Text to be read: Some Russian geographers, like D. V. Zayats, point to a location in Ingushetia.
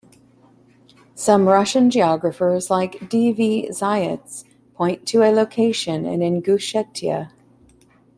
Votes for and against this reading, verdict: 2, 0, accepted